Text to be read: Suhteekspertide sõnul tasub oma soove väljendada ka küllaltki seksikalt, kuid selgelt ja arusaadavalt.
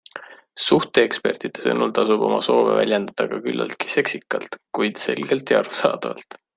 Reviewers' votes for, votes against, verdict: 2, 0, accepted